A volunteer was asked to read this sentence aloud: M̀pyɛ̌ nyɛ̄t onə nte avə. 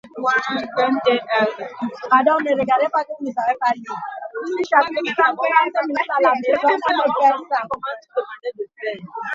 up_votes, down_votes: 0, 2